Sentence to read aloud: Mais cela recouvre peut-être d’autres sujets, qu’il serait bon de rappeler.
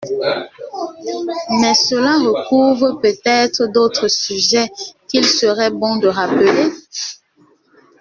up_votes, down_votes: 1, 2